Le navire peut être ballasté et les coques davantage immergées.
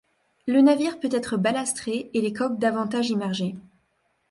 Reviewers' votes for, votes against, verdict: 2, 0, accepted